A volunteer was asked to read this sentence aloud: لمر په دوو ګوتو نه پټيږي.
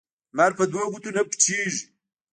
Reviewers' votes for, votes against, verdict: 1, 2, rejected